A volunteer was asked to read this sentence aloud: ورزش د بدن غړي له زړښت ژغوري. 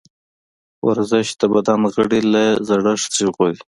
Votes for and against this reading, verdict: 2, 1, accepted